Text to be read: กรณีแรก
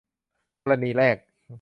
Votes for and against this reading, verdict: 1, 2, rejected